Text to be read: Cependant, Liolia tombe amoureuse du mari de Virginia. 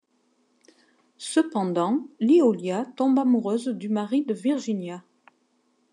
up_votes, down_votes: 2, 0